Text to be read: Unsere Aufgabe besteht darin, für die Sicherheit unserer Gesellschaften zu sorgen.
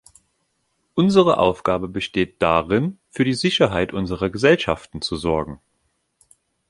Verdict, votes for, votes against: accepted, 2, 0